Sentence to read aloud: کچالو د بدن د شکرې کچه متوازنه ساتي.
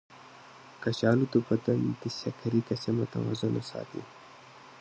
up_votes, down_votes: 0, 2